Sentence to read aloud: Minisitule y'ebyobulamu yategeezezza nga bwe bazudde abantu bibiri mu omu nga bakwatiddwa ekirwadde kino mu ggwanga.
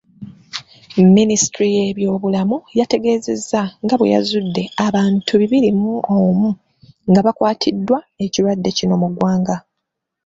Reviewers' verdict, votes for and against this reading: rejected, 0, 2